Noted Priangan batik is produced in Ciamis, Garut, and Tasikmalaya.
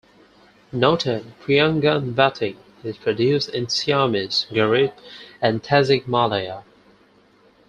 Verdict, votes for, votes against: accepted, 4, 2